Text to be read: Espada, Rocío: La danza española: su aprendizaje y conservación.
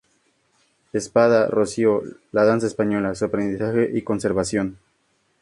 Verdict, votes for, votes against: accepted, 6, 0